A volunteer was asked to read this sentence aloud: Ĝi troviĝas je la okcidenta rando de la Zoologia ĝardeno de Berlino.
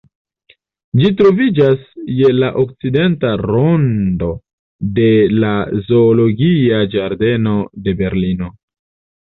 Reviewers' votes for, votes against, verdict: 1, 2, rejected